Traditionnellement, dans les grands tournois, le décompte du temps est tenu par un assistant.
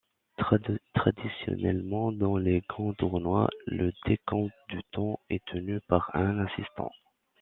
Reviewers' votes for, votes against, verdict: 1, 2, rejected